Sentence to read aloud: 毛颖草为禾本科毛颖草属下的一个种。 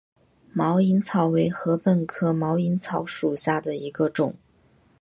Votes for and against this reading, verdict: 1, 2, rejected